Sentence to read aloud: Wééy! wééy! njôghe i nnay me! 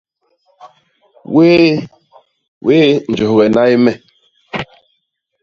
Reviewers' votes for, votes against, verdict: 1, 2, rejected